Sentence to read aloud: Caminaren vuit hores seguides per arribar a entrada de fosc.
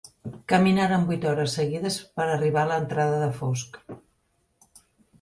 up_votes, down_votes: 1, 2